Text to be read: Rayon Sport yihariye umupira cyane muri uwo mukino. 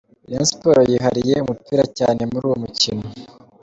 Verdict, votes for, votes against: accepted, 2, 0